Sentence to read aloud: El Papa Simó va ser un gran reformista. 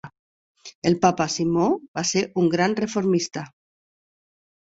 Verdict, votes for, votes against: accepted, 4, 0